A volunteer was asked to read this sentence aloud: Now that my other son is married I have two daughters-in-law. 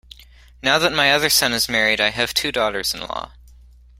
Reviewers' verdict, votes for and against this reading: accepted, 3, 0